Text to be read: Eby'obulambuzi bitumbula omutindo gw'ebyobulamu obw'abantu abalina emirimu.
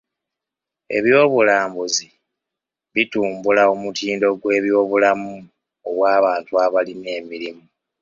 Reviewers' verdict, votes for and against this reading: accepted, 2, 0